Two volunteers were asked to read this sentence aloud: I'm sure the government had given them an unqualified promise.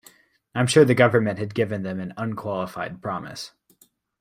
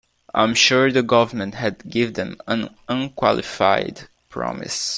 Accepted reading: first